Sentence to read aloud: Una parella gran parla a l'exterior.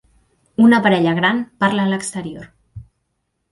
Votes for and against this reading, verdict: 3, 0, accepted